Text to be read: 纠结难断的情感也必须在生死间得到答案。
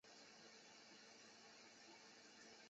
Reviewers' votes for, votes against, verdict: 0, 2, rejected